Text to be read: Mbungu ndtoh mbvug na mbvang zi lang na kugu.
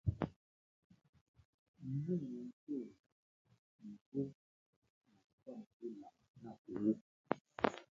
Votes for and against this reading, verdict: 0, 2, rejected